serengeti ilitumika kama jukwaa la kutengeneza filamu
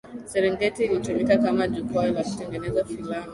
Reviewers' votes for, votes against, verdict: 5, 0, accepted